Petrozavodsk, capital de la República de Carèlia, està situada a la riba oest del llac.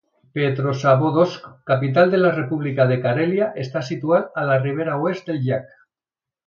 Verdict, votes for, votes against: rejected, 1, 2